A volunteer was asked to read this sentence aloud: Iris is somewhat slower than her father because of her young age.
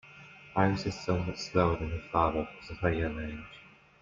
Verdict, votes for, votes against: accepted, 2, 0